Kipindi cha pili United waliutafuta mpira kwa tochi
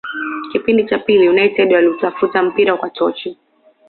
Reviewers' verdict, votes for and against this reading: accepted, 2, 0